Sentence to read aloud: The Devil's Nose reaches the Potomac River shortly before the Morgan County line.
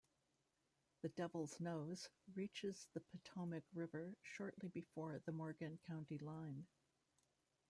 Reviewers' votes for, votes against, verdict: 0, 2, rejected